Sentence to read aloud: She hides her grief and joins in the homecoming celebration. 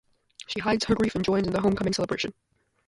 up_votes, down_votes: 2, 0